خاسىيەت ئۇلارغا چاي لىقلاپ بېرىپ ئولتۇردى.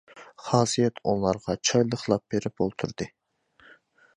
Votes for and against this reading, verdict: 2, 0, accepted